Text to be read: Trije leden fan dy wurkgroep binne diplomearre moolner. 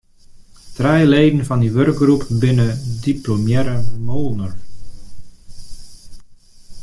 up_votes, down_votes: 1, 2